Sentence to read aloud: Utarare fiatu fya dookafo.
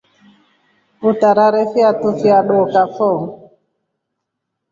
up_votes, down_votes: 2, 0